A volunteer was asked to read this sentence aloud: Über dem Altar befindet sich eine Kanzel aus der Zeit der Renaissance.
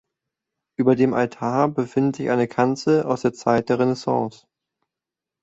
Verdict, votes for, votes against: accepted, 2, 0